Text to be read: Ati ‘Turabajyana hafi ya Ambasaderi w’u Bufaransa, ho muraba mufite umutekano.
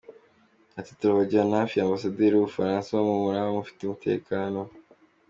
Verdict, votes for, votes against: accepted, 2, 0